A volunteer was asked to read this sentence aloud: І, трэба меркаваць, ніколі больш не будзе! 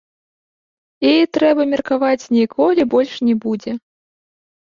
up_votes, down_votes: 1, 2